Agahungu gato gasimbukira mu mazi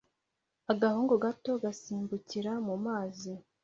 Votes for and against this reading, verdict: 2, 0, accepted